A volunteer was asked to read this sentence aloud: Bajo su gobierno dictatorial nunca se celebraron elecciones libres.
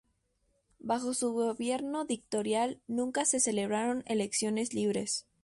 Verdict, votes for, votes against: rejected, 0, 2